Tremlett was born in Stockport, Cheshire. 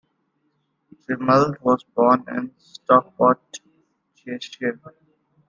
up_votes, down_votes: 0, 2